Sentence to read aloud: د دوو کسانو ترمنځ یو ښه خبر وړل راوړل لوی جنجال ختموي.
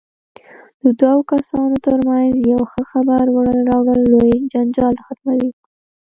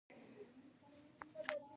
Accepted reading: second